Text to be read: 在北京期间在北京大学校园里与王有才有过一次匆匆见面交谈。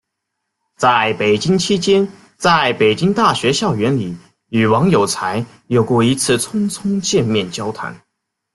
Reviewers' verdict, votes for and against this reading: accepted, 2, 0